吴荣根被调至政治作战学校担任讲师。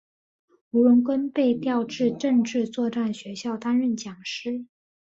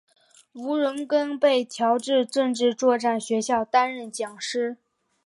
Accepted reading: first